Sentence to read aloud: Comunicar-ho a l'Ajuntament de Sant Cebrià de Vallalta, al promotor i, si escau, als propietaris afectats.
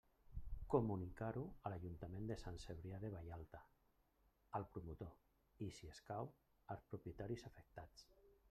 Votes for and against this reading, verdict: 1, 2, rejected